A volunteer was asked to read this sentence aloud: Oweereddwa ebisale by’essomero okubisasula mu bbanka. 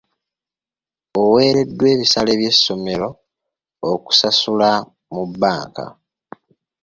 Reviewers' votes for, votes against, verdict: 2, 0, accepted